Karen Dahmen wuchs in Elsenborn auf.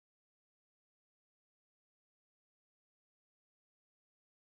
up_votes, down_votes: 0, 4